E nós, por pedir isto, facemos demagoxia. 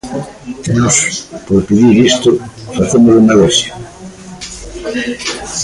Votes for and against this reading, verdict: 0, 2, rejected